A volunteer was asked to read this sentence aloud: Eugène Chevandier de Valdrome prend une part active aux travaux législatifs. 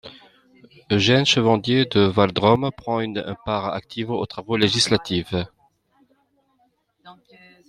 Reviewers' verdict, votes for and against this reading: accepted, 2, 1